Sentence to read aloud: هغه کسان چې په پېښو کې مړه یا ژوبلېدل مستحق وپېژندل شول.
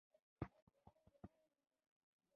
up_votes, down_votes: 2, 0